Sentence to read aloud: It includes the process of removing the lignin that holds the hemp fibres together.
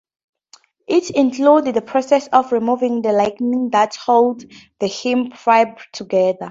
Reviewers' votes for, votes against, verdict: 0, 2, rejected